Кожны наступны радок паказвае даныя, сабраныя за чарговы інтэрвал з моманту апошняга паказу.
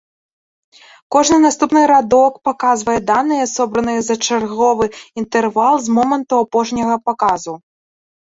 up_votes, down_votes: 0, 2